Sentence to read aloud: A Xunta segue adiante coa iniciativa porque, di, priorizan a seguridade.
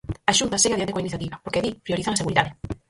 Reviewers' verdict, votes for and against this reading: rejected, 0, 4